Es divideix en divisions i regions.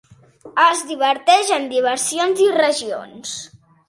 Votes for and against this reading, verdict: 0, 2, rejected